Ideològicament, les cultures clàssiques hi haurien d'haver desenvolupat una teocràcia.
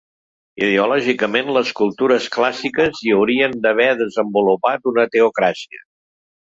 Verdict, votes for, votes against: accepted, 2, 0